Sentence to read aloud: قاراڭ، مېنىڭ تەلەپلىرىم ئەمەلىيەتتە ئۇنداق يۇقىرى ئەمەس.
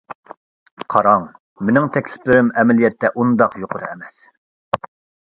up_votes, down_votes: 0, 2